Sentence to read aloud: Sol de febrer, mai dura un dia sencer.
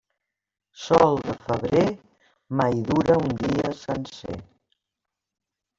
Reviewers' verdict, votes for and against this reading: rejected, 0, 2